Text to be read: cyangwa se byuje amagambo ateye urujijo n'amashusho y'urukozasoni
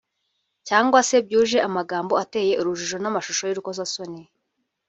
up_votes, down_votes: 0, 2